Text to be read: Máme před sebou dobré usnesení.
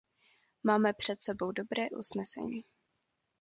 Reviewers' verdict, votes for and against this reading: accepted, 2, 0